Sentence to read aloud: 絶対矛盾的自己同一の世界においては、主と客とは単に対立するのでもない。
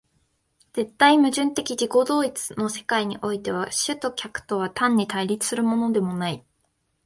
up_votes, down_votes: 2, 0